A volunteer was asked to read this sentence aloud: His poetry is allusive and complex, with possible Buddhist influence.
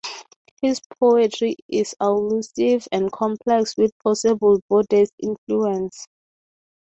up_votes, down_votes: 6, 0